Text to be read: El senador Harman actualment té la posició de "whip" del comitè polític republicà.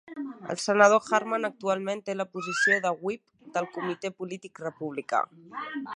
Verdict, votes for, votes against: accepted, 3, 0